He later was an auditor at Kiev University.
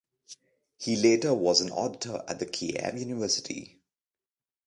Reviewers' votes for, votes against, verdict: 0, 2, rejected